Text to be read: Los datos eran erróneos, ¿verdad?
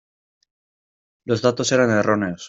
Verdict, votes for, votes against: rejected, 0, 2